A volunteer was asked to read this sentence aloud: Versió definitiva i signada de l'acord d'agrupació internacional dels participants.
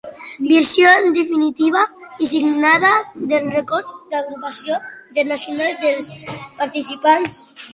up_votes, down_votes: 1, 2